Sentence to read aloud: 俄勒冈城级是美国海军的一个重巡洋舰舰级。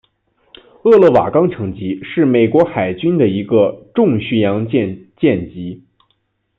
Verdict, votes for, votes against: rejected, 0, 2